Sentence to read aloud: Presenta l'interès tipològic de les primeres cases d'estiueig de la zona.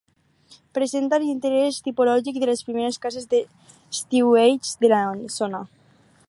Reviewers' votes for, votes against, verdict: 4, 2, accepted